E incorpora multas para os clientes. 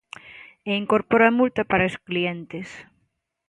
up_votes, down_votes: 0, 2